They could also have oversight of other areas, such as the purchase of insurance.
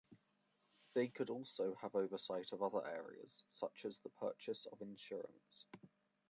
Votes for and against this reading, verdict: 2, 0, accepted